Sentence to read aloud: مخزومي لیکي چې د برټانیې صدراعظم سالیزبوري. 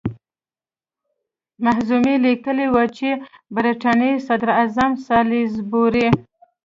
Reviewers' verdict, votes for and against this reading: rejected, 0, 2